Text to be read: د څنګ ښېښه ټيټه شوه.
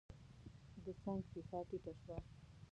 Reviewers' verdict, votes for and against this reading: rejected, 0, 2